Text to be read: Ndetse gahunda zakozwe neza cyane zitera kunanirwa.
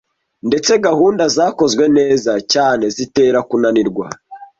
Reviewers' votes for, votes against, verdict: 2, 0, accepted